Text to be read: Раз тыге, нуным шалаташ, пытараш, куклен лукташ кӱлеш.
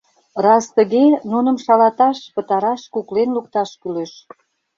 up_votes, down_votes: 2, 0